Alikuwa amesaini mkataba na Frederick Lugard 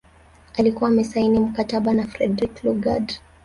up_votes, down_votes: 0, 2